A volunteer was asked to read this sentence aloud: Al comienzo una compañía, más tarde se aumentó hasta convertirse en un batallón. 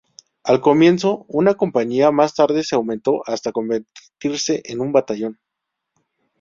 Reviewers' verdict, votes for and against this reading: accepted, 2, 0